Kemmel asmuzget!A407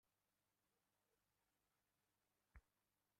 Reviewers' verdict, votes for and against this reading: rejected, 0, 2